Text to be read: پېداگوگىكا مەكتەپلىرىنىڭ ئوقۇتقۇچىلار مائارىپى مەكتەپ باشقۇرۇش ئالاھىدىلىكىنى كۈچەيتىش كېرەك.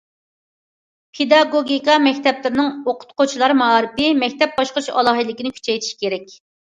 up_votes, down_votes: 2, 0